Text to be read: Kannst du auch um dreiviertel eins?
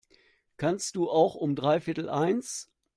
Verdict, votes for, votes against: accepted, 2, 0